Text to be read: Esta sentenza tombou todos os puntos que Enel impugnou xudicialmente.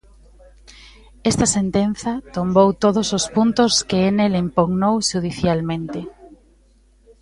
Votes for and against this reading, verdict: 1, 2, rejected